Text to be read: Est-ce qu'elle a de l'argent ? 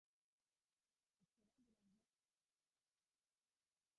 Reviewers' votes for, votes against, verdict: 0, 2, rejected